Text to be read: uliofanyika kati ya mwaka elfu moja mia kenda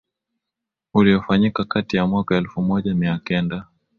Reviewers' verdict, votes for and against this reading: accepted, 2, 0